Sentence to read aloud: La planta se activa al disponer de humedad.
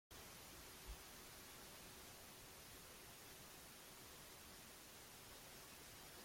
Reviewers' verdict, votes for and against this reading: rejected, 0, 2